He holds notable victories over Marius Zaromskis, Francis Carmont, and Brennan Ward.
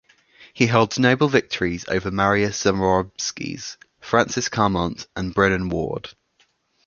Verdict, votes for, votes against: accepted, 2, 0